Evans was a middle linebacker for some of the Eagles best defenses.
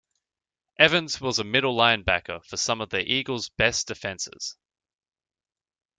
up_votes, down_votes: 2, 0